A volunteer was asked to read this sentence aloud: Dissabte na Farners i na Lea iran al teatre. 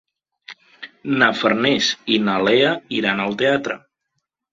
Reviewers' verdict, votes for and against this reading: rejected, 1, 2